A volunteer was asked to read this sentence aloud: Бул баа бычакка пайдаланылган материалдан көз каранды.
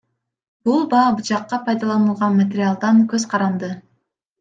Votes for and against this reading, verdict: 1, 2, rejected